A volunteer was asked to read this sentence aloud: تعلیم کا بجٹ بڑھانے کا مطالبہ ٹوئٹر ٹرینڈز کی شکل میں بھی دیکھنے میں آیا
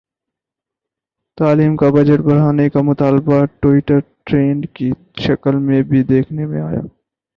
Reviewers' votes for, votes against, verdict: 4, 0, accepted